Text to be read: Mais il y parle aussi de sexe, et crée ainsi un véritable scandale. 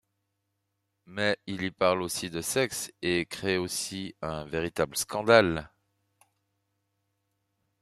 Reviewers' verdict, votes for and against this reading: rejected, 0, 2